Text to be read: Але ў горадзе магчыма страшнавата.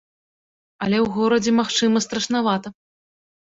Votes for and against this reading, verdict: 1, 2, rejected